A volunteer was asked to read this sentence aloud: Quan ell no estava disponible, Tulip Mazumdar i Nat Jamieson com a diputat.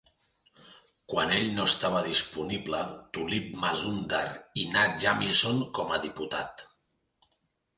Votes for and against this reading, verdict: 2, 1, accepted